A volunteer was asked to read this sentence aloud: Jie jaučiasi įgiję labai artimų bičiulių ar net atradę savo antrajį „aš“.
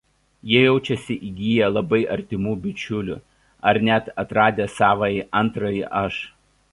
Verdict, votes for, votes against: rejected, 0, 2